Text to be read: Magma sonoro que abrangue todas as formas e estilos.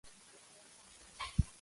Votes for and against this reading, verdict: 0, 2, rejected